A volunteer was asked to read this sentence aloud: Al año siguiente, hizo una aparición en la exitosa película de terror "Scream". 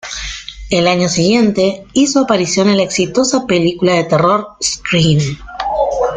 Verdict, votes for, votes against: rejected, 0, 2